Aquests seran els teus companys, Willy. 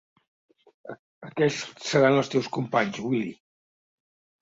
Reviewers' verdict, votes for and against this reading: rejected, 1, 2